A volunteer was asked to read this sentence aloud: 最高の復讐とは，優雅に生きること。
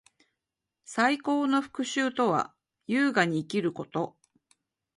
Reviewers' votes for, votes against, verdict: 2, 0, accepted